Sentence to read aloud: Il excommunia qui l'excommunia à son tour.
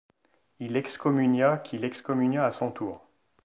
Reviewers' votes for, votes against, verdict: 2, 0, accepted